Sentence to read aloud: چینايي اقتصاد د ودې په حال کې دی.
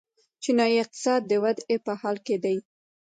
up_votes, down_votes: 1, 2